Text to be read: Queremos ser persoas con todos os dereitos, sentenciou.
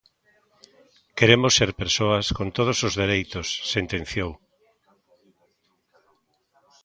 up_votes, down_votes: 2, 1